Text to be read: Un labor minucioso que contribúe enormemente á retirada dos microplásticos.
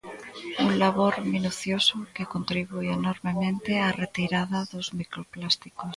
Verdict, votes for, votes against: rejected, 0, 2